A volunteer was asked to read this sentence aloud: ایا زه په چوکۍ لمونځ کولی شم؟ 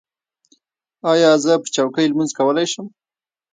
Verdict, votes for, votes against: rejected, 0, 2